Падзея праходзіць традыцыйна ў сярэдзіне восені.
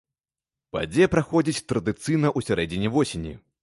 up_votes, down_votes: 2, 1